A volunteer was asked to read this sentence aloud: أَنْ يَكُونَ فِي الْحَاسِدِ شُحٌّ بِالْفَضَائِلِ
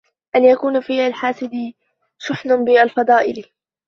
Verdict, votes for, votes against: rejected, 0, 2